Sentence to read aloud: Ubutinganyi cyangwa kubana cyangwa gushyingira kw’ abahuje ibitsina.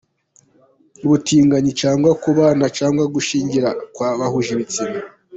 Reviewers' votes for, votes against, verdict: 2, 1, accepted